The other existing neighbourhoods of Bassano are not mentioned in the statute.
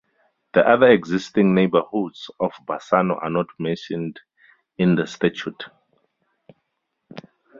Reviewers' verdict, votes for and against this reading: accepted, 2, 0